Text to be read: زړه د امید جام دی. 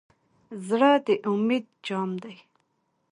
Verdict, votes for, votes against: accepted, 3, 0